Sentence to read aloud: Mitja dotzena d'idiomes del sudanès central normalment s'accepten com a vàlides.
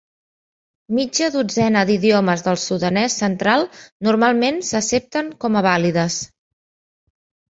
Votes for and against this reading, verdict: 1, 2, rejected